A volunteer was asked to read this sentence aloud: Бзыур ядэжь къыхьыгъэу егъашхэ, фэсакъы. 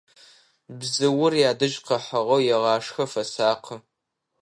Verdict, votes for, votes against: accepted, 2, 0